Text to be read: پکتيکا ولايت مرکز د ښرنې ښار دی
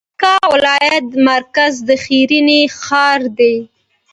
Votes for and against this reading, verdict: 2, 0, accepted